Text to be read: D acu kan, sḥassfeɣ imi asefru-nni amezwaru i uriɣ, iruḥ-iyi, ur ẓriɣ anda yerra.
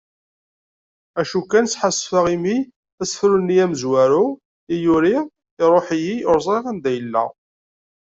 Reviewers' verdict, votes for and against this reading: rejected, 1, 2